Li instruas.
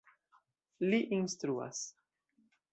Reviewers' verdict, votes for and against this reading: accepted, 2, 0